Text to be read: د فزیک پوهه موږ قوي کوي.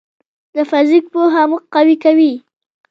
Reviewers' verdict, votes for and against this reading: rejected, 1, 2